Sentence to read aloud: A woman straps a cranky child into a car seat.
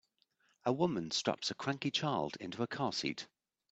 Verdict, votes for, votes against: accepted, 2, 0